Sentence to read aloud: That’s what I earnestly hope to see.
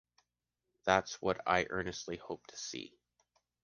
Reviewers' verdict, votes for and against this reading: accepted, 2, 0